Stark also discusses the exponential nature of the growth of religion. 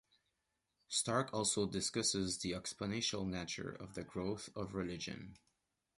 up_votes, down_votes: 1, 2